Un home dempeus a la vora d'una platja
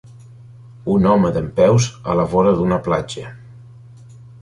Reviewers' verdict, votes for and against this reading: accepted, 2, 0